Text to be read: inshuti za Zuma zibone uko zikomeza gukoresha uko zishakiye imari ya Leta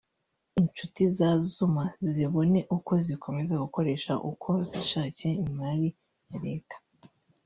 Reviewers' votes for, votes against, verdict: 1, 2, rejected